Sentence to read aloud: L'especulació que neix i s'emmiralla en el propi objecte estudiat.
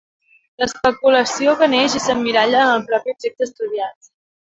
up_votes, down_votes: 1, 2